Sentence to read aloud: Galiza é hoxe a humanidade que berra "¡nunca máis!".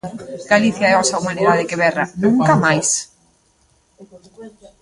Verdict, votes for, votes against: rejected, 0, 2